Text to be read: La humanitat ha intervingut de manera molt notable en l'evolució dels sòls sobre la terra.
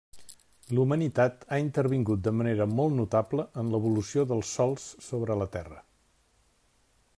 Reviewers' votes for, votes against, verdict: 1, 2, rejected